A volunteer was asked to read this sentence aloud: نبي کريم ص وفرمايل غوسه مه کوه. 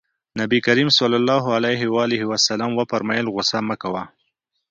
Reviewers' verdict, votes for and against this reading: accepted, 2, 0